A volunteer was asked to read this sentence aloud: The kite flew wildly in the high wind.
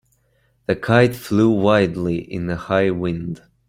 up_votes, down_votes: 2, 0